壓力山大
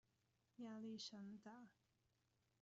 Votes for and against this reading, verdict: 1, 2, rejected